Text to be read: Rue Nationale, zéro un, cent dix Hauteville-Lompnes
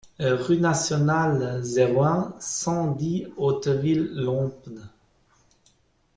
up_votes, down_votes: 2, 1